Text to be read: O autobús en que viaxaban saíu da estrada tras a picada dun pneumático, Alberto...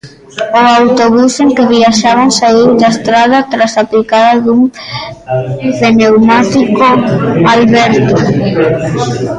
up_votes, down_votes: 0, 2